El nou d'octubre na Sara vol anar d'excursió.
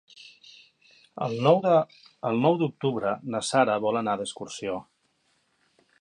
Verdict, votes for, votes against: rejected, 0, 2